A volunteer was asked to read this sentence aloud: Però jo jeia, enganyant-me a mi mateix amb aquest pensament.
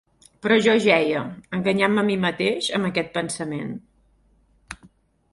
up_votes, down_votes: 4, 0